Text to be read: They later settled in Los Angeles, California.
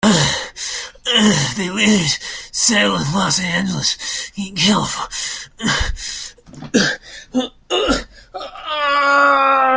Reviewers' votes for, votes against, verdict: 0, 2, rejected